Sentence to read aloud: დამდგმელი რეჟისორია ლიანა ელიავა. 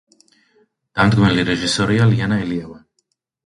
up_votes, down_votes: 2, 0